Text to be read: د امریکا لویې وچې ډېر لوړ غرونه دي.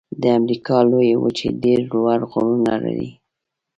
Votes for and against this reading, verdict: 1, 2, rejected